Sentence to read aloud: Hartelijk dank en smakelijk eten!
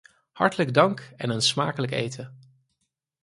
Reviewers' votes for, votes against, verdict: 2, 4, rejected